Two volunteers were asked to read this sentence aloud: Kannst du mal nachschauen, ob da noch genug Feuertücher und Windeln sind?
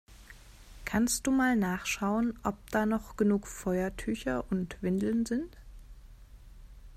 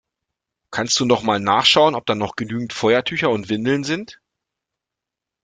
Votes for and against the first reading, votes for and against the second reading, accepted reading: 2, 0, 1, 2, first